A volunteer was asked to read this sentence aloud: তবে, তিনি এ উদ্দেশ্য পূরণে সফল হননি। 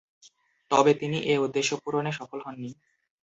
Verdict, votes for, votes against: accepted, 2, 0